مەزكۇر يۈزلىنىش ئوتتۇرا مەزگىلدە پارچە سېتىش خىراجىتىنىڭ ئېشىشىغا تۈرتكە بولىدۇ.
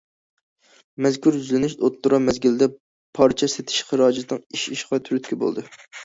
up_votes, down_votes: 2, 1